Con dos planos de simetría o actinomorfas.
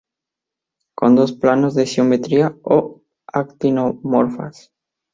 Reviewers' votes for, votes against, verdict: 0, 4, rejected